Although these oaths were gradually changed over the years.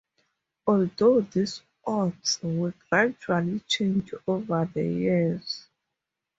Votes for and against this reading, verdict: 2, 0, accepted